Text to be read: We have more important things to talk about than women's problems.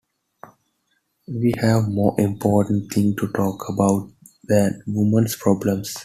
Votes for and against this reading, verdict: 1, 2, rejected